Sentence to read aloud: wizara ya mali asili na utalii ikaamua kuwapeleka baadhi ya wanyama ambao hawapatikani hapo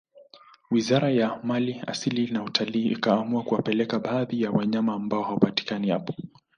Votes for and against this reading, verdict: 0, 2, rejected